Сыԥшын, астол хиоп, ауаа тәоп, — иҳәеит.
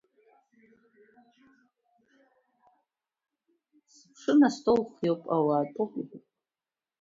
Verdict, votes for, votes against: rejected, 0, 2